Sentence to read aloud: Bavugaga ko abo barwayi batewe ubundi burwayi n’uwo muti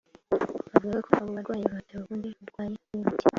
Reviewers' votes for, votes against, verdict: 2, 0, accepted